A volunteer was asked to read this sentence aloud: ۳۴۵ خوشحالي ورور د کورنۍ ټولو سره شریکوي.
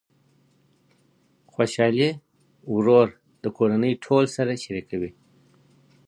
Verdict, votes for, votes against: rejected, 0, 2